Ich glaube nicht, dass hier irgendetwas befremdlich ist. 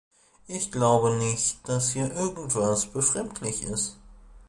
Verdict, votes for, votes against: rejected, 1, 2